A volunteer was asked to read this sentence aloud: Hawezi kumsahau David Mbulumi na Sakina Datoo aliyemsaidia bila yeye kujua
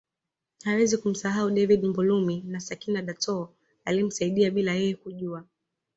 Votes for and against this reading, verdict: 2, 0, accepted